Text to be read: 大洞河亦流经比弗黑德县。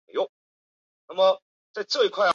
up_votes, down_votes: 0, 3